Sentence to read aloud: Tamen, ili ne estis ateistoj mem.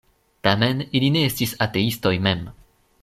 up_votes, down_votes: 2, 0